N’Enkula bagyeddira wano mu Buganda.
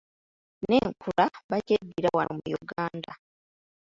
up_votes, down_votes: 0, 2